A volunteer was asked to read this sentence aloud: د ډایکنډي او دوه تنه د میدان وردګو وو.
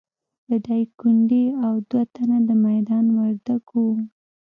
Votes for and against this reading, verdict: 0, 2, rejected